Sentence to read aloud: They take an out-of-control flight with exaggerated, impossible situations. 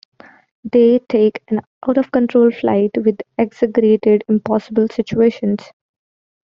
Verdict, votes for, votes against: rejected, 0, 2